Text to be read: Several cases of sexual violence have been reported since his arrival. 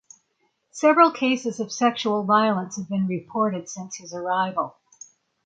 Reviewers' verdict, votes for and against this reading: accepted, 6, 0